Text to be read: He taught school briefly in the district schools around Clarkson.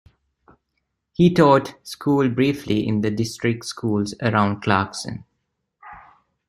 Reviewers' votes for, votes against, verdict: 2, 0, accepted